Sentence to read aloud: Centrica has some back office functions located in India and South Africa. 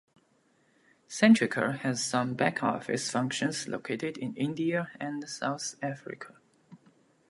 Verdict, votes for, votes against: accepted, 2, 0